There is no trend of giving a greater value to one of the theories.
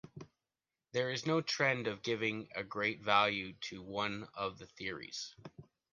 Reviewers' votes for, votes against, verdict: 0, 2, rejected